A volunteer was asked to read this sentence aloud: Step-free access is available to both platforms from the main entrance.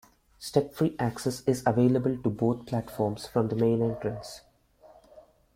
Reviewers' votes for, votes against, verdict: 2, 0, accepted